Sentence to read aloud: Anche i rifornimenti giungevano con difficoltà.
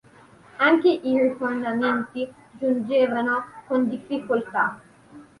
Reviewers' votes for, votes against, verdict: 0, 2, rejected